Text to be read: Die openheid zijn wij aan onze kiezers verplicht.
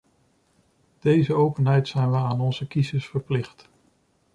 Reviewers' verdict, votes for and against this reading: rejected, 1, 2